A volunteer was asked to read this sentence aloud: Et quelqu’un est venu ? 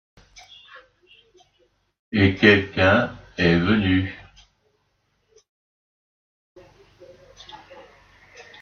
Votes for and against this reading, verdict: 0, 2, rejected